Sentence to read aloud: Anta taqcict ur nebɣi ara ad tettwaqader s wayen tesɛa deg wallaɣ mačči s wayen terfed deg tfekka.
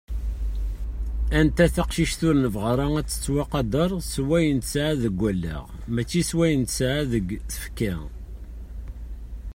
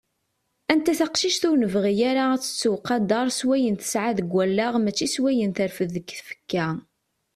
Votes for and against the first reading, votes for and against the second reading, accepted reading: 0, 2, 2, 0, second